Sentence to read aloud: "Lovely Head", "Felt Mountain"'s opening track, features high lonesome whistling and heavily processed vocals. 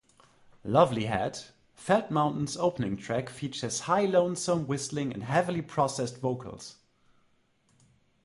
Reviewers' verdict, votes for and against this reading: accepted, 2, 0